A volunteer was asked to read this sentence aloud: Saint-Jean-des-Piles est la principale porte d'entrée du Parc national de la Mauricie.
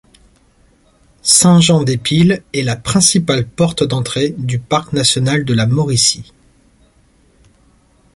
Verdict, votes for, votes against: accepted, 2, 0